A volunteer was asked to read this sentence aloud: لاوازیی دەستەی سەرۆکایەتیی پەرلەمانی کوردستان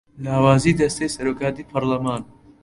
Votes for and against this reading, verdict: 0, 2, rejected